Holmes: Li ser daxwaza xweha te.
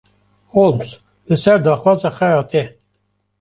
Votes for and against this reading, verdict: 0, 2, rejected